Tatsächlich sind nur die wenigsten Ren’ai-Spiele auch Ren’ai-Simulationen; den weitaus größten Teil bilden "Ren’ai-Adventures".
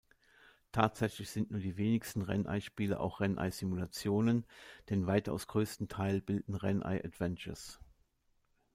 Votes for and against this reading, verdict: 2, 1, accepted